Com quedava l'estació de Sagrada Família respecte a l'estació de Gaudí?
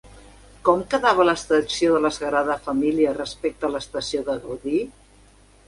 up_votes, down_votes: 1, 2